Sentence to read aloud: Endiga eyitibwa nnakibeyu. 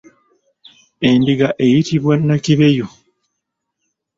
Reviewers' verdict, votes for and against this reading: accepted, 2, 1